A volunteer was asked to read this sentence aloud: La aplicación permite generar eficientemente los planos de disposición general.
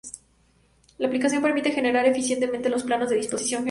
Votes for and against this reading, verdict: 0, 2, rejected